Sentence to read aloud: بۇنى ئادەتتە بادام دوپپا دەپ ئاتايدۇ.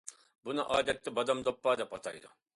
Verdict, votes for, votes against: accepted, 2, 0